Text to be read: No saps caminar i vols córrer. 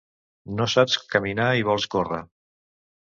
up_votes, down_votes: 2, 0